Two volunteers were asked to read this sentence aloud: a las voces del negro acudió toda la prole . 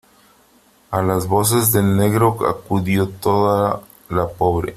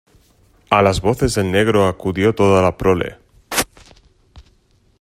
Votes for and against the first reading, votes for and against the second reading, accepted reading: 0, 3, 6, 0, second